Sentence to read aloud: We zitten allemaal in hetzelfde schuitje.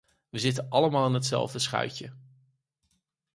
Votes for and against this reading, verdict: 4, 0, accepted